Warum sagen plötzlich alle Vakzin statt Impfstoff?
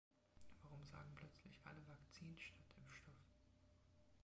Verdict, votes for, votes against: rejected, 2, 3